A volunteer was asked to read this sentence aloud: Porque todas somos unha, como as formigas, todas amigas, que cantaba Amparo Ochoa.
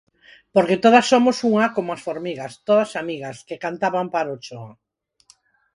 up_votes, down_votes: 4, 0